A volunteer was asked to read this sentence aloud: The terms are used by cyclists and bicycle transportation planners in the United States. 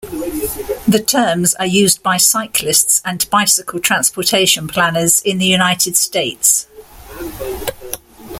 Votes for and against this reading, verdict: 2, 0, accepted